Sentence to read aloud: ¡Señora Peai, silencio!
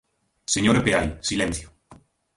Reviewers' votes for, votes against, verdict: 2, 0, accepted